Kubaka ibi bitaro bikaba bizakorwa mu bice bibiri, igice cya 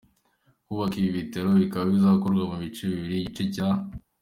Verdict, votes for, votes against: accepted, 2, 0